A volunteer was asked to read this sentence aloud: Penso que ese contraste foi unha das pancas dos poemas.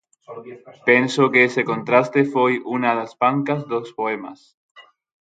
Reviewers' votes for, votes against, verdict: 3, 3, rejected